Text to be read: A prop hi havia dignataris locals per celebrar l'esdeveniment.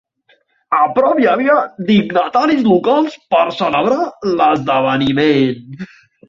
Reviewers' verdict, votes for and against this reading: rejected, 2, 4